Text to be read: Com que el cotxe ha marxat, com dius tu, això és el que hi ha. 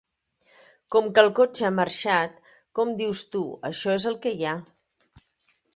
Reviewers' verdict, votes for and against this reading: accepted, 2, 0